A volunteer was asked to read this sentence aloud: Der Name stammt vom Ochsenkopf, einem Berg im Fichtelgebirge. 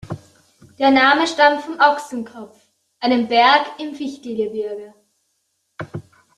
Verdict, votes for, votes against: accepted, 2, 0